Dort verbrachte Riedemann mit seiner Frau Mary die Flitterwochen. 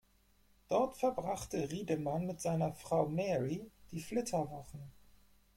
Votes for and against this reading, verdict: 2, 4, rejected